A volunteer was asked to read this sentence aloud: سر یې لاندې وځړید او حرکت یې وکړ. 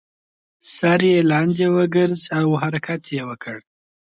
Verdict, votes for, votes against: rejected, 0, 2